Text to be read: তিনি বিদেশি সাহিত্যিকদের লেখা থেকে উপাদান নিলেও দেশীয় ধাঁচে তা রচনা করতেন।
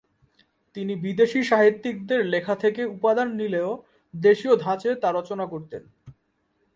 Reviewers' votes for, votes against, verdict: 2, 0, accepted